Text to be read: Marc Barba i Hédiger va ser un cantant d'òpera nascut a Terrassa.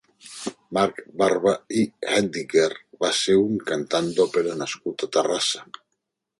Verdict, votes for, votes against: rejected, 1, 2